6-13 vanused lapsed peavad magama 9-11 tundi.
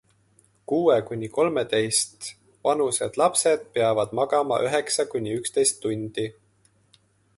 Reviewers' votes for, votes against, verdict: 0, 2, rejected